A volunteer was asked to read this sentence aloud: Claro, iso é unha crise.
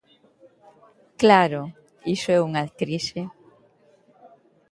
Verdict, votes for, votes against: rejected, 1, 2